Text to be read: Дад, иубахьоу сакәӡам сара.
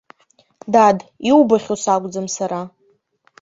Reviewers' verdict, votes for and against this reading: accepted, 3, 0